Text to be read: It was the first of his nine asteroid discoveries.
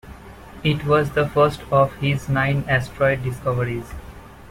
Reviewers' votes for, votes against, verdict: 2, 0, accepted